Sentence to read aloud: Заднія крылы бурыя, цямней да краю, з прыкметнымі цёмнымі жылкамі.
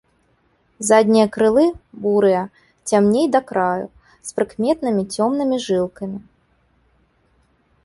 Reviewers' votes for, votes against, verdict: 1, 2, rejected